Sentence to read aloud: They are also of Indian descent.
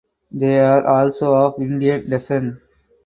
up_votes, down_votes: 2, 0